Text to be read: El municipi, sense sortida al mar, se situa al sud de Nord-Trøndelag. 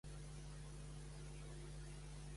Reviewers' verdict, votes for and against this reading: rejected, 0, 2